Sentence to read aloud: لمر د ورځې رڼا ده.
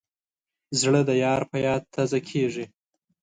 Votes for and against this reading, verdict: 1, 2, rejected